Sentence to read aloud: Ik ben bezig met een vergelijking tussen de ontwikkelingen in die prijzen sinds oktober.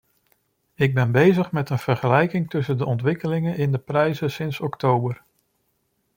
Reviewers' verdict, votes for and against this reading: rejected, 0, 2